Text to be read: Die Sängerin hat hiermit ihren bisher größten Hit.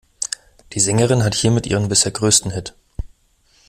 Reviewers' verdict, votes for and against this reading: accepted, 2, 0